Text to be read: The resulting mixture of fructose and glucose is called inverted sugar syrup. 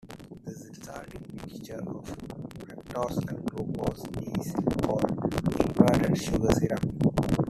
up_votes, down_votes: 0, 2